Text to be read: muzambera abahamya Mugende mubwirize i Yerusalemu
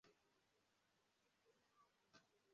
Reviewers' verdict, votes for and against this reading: rejected, 0, 2